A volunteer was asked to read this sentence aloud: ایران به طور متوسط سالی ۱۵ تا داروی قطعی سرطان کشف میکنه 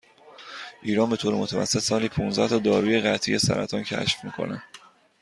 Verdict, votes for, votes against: rejected, 0, 2